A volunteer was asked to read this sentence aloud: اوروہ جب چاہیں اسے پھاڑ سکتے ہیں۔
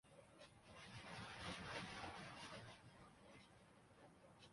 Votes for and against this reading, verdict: 1, 2, rejected